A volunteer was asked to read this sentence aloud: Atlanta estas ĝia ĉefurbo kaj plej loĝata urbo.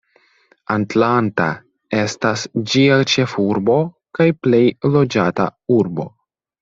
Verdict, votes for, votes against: rejected, 1, 2